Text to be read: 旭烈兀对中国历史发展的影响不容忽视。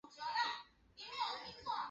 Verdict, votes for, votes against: rejected, 0, 4